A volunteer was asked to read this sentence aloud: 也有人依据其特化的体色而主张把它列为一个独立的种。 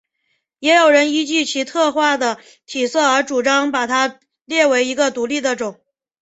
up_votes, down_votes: 2, 0